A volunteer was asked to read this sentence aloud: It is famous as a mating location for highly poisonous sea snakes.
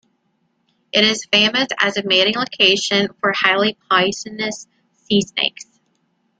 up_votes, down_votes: 1, 2